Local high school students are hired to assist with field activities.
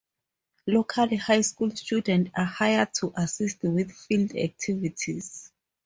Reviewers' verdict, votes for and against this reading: accepted, 2, 0